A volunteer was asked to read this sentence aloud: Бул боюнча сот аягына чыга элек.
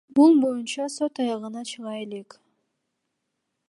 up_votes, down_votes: 2, 0